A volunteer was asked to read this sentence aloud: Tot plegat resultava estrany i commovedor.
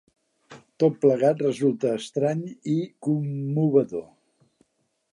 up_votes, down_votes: 0, 2